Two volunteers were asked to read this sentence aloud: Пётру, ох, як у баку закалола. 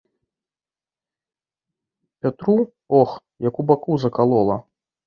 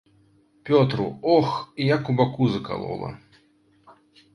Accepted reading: second